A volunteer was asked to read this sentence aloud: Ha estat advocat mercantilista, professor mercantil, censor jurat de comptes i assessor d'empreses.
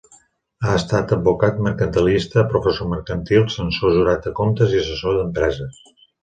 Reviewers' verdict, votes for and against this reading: accepted, 2, 0